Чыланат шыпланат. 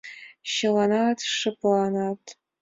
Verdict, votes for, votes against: accepted, 2, 1